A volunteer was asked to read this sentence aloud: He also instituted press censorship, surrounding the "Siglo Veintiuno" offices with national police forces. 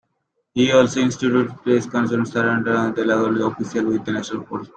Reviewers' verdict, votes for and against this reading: rejected, 0, 2